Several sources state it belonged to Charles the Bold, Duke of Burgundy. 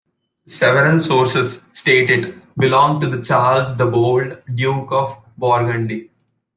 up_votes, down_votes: 0, 2